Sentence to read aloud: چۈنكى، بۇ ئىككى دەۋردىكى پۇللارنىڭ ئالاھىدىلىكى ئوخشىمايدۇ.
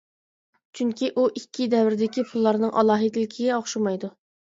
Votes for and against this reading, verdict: 0, 2, rejected